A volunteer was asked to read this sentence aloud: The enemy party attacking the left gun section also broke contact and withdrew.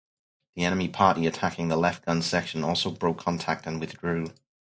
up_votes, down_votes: 4, 0